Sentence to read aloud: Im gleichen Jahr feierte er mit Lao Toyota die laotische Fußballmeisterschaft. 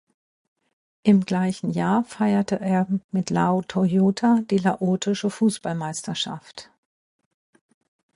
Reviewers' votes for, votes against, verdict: 2, 0, accepted